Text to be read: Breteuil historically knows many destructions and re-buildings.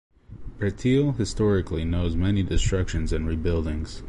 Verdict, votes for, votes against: accepted, 3, 0